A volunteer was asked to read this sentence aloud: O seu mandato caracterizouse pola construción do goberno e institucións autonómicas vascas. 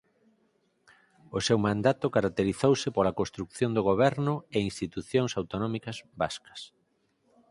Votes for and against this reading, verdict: 4, 0, accepted